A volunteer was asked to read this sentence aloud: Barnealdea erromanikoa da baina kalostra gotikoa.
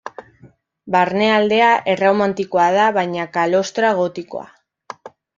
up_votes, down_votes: 1, 2